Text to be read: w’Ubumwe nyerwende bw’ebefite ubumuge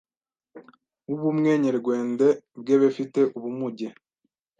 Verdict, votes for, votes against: rejected, 1, 2